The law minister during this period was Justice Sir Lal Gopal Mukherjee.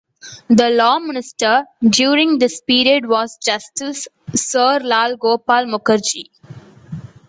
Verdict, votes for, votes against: accepted, 2, 1